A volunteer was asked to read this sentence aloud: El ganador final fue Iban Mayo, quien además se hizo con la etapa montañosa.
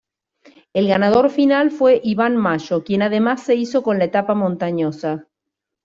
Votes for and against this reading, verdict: 2, 1, accepted